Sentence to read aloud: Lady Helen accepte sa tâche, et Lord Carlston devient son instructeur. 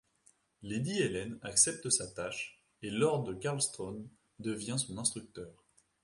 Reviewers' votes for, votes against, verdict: 1, 2, rejected